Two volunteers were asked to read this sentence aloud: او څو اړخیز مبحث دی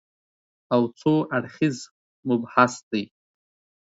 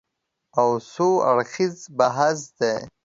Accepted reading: first